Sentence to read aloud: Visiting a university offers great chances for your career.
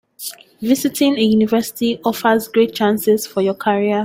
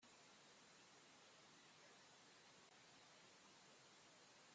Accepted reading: first